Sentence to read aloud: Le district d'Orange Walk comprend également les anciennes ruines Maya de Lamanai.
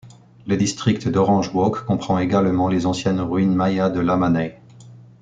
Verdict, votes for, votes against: accepted, 2, 0